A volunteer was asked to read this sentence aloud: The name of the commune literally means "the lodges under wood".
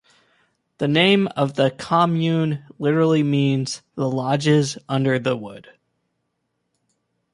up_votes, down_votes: 0, 2